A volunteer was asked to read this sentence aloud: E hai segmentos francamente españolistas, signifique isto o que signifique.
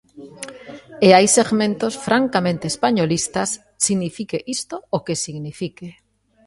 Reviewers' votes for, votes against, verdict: 2, 0, accepted